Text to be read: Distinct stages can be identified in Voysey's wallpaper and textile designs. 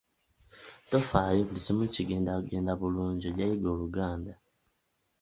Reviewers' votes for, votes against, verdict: 0, 2, rejected